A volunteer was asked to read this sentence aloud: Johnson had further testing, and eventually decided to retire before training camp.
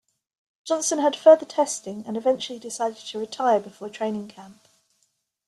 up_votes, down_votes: 3, 0